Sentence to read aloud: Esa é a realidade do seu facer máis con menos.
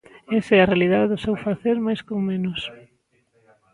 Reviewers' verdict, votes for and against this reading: rejected, 0, 2